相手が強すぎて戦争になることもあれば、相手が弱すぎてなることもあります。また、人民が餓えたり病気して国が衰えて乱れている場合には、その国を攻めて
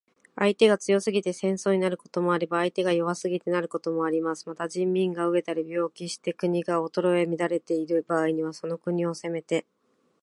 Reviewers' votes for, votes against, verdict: 0, 2, rejected